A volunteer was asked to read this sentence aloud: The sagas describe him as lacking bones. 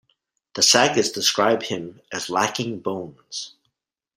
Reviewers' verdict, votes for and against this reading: accepted, 2, 0